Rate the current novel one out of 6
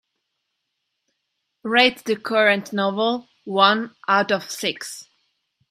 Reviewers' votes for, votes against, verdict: 0, 2, rejected